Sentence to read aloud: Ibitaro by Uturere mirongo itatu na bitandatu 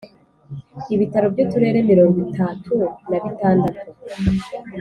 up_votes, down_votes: 2, 0